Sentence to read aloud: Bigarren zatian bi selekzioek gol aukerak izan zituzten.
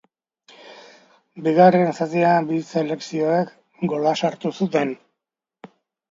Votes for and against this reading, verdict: 0, 2, rejected